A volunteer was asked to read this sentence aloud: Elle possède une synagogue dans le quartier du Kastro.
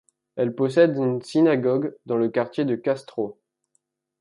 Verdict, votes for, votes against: rejected, 1, 2